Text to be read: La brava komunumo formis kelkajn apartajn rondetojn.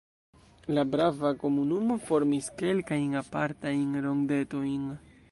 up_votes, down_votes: 1, 2